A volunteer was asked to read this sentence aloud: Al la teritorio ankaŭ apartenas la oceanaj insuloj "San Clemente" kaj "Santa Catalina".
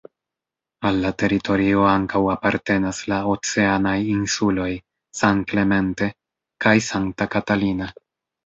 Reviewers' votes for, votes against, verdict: 2, 0, accepted